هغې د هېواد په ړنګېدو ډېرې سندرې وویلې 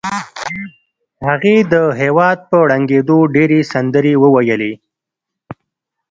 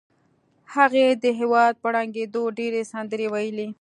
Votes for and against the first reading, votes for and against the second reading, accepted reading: 0, 2, 2, 0, second